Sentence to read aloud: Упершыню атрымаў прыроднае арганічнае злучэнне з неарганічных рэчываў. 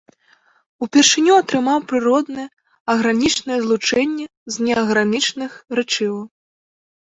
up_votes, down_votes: 0, 2